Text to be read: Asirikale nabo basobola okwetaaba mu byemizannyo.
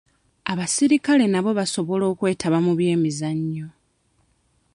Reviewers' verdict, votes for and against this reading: rejected, 1, 2